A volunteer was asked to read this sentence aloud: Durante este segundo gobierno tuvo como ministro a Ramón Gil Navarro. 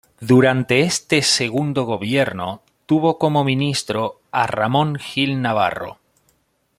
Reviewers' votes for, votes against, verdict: 2, 0, accepted